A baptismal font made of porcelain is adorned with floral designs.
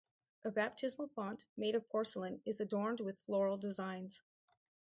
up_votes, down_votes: 4, 2